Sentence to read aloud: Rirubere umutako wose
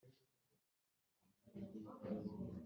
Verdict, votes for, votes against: rejected, 1, 2